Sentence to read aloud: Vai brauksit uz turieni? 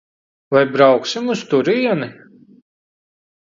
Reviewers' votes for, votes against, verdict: 0, 3, rejected